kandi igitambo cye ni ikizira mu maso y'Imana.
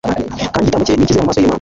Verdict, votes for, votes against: rejected, 0, 2